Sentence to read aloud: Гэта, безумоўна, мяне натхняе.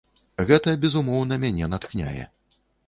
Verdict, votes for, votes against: rejected, 1, 2